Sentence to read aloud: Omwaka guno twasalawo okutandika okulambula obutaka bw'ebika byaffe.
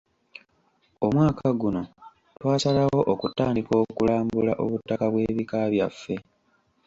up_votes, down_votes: 2, 0